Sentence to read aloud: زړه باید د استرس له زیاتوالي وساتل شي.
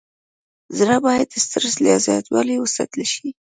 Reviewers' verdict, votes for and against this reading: accepted, 2, 0